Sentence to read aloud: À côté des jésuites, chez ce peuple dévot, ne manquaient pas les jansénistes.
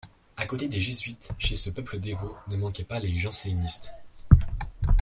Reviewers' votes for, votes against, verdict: 2, 0, accepted